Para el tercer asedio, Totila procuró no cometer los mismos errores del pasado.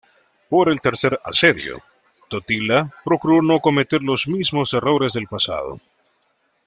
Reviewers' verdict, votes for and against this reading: rejected, 0, 2